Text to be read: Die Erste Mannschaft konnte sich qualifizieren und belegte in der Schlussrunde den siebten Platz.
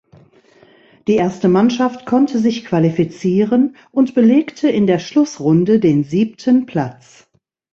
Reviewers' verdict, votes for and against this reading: accepted, 3, 0